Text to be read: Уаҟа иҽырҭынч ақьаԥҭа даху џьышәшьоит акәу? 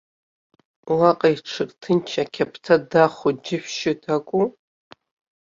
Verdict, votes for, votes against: rejected, 1, 2